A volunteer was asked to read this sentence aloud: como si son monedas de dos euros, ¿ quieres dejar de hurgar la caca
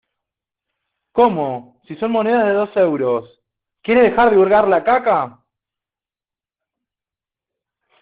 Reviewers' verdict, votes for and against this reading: rejected, 0, 2